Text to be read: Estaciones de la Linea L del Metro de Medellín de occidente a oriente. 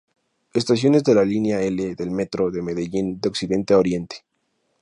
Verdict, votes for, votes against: accepted, 2, 0